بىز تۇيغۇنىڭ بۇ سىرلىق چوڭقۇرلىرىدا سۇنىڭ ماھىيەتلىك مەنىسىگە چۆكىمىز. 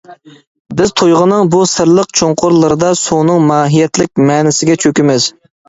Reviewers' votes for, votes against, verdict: 2, 0, accepted